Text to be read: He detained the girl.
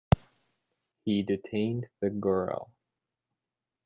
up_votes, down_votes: 2, 0